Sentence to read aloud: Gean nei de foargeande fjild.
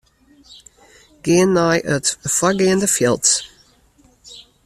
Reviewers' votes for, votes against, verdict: 1, 2, rejected